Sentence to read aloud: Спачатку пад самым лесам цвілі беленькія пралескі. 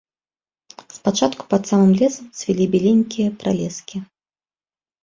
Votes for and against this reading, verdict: 2, 0, accepted